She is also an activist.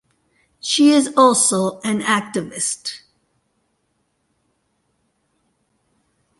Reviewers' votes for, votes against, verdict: 2, 0, accepted